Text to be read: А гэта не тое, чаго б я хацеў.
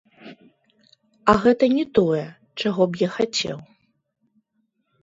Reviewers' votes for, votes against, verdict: 0, 2, rejected